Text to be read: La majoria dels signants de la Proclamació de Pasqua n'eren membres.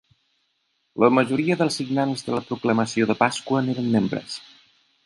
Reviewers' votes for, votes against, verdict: 2, 0, accepted